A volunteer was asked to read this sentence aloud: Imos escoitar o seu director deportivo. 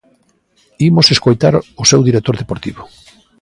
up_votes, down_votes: 2, 0